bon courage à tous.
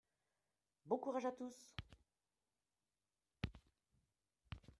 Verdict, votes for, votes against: accepted, 2, 1